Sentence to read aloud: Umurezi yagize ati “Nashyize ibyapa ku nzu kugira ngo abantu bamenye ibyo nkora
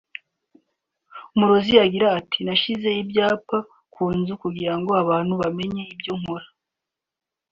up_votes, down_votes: 2, 0